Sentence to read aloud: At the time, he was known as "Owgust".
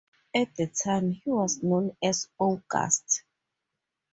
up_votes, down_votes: 2, 0